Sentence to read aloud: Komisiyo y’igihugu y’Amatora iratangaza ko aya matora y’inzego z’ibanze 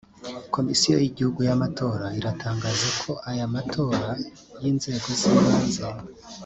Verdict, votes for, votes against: rejected, 1, 2